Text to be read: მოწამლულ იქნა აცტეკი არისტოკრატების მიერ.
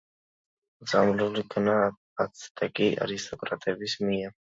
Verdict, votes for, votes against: accepted, 2, 1